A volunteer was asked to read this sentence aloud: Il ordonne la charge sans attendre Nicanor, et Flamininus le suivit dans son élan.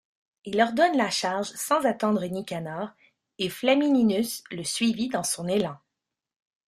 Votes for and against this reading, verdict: 1, 2, rejected